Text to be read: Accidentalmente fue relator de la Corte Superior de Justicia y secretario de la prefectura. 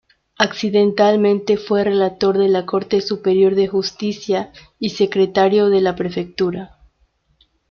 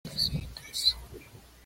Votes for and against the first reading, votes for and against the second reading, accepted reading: 2, 0, 0, 2, first